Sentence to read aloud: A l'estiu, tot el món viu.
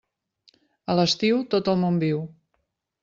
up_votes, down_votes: 2, 0